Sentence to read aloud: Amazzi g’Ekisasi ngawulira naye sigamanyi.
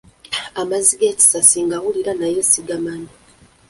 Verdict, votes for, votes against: accepted, 2, 0